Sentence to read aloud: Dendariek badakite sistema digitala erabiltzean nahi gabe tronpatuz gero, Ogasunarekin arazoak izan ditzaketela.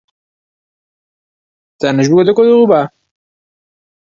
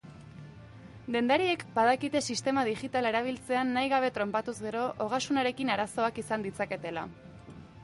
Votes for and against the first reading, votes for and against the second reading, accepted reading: 0, 2, 3, 1, second